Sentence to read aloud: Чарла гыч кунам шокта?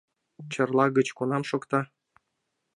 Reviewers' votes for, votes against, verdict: 2, 0, accepted